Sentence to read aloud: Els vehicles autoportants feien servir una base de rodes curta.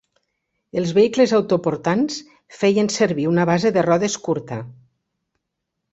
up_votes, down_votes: 6, 0